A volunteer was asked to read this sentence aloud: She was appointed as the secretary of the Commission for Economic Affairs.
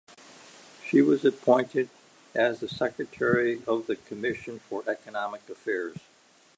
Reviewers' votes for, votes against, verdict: 2, 0, accepted